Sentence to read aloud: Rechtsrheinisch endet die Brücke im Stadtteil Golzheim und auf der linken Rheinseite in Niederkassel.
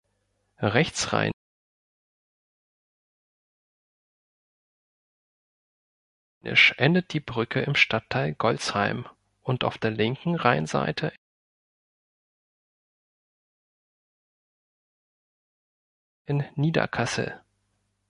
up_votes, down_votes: 1, 2